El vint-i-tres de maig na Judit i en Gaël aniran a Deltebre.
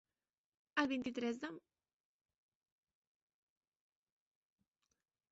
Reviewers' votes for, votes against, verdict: 0, 2, rejected